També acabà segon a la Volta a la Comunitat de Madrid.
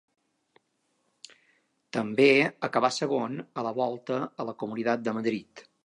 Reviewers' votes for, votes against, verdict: 1, 2, rejected